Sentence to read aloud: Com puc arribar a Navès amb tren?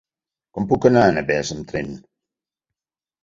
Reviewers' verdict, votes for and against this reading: accepted, 2, 0